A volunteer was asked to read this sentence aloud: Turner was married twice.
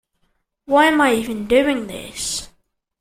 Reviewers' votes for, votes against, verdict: 0, 2, rejected